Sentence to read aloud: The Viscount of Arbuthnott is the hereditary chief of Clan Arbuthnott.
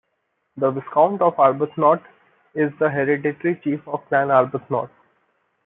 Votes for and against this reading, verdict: 0, 2, rejected